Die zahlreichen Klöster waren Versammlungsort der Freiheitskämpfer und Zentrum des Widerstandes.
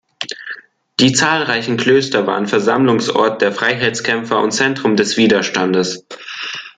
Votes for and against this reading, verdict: 2, 0, accepted